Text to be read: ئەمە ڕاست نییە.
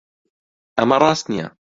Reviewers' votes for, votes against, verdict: 2, 0, accepted